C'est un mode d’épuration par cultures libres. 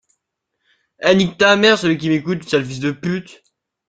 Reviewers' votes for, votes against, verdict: 0, 2, rejected